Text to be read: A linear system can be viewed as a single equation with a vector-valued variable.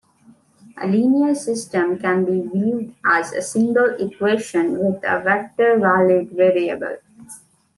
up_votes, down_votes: 2, 0